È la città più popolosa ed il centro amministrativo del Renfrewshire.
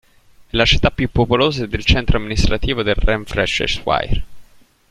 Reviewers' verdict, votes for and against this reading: rejected, 0, 2